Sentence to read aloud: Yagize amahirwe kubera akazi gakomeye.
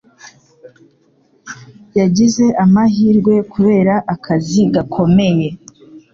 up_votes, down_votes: 2, 0